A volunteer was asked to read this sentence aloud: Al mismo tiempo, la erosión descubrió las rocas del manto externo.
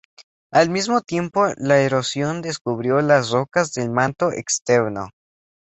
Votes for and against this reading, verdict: 2, 0, accepted